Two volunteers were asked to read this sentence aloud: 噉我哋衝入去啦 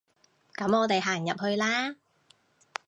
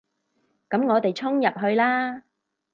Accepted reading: second